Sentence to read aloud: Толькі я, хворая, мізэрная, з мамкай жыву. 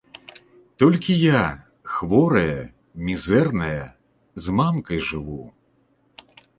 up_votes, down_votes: 2, 0